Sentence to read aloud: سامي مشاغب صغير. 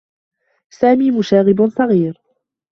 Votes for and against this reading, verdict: 2, 1, accepted